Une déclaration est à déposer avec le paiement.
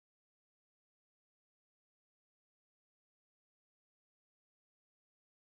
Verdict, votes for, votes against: rejected, 0, 2